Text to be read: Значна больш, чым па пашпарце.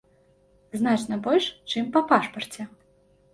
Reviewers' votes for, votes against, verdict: 2, 0, accepted